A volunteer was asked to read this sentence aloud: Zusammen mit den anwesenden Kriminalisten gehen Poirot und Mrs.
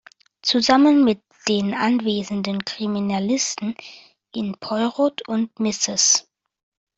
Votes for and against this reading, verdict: 2, 1, accepted